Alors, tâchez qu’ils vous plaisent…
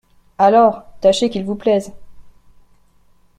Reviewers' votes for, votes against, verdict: 2, 0, accepted